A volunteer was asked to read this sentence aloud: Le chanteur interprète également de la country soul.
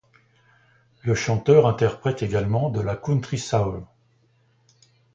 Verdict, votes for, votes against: accepted, 2, 0